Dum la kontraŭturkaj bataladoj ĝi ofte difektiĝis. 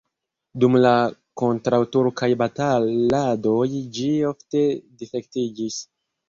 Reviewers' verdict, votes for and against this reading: rejected, 1, 2